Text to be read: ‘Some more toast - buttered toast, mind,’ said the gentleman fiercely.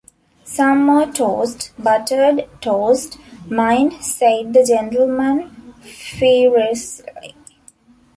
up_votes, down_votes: 0, 2